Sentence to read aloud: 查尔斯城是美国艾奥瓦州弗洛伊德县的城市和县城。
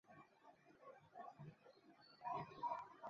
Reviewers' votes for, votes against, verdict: 0, 6, rejected